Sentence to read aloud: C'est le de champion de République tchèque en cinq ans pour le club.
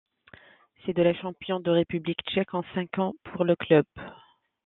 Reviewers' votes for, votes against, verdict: 1, 2, rejected